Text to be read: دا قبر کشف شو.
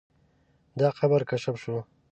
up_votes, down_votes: 2, 0